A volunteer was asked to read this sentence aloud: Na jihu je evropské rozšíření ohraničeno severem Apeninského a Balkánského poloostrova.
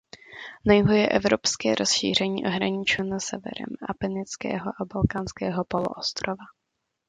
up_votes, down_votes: 2, 0